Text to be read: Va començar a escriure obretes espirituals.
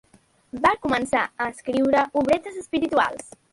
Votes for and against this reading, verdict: 0, 2, rejected